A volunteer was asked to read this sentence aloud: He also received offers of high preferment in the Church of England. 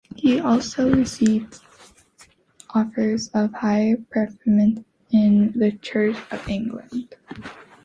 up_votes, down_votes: 2, 1